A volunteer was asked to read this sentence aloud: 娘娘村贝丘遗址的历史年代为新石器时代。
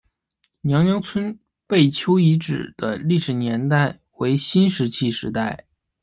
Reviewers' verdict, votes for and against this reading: accepted, 2, 0